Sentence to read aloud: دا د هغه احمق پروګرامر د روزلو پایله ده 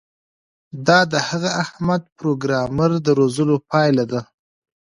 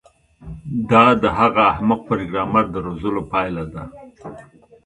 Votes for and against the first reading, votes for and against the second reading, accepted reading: 0, 2, 2, 1, second